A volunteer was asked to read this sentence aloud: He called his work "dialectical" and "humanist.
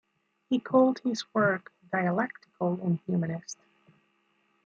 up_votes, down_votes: 2, 1